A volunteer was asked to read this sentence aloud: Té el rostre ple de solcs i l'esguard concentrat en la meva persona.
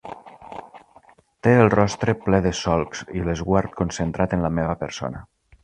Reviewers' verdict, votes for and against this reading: accepted, 2, 0